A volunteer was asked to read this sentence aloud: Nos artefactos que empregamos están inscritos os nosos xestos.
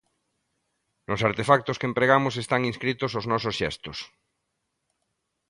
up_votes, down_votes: 2, 0